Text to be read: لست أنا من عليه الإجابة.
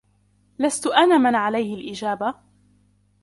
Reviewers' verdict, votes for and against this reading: accepted, 2, 1